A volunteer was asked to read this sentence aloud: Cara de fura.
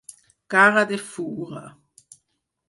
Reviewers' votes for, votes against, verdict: 2, 4, rejected